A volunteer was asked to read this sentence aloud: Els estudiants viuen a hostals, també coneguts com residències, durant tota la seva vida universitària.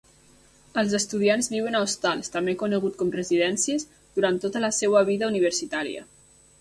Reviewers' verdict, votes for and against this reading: rejected, 1, 2